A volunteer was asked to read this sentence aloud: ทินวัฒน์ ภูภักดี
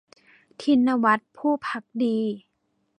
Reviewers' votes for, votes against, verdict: 0, 2, rejected